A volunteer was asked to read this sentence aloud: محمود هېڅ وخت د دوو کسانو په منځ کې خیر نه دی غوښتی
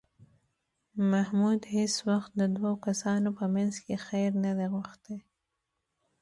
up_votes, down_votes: 1, 2